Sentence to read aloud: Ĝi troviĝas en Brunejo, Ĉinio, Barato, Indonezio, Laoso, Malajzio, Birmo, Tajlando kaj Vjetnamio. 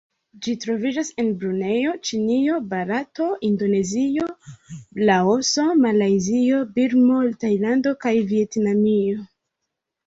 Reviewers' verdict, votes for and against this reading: accepted, 2, 0